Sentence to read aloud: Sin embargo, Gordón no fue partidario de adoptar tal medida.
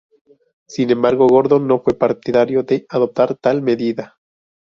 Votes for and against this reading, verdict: 2, 2, rejected